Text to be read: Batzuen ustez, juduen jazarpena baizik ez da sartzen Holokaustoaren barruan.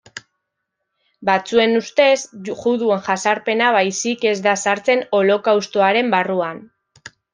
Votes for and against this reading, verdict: 1, 2, rejected